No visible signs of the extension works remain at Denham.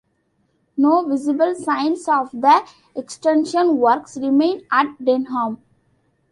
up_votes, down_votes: 2, 0